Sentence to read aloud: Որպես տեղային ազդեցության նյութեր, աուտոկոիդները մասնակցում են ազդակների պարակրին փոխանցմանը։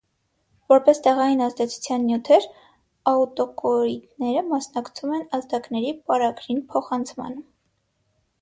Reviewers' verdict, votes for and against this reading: rejected, 0, 6